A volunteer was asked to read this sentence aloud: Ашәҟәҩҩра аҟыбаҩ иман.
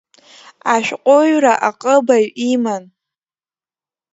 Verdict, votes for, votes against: accepted, 4, 1